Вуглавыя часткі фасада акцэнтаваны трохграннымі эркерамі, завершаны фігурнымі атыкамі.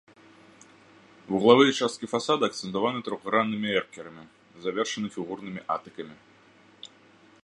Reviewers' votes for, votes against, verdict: 2, 0, accepted